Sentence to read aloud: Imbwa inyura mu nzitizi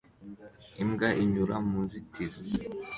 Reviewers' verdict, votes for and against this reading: accepted, 2, 0